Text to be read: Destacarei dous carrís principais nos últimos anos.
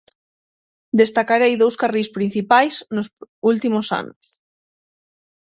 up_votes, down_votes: 3, 6